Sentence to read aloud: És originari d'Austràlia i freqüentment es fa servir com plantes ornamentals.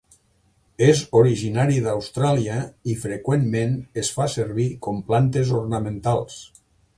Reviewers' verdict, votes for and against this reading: accepted, 3, 0